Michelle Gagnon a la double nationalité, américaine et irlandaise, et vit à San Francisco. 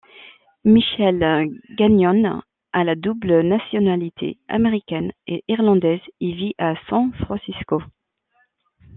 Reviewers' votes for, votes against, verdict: 2, 1, accepted